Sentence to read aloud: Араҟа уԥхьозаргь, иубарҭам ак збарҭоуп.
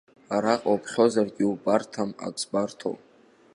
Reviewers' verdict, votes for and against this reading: accepted, 3, 0